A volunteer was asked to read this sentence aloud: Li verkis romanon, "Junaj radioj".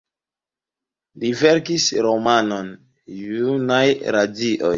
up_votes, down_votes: 0, 2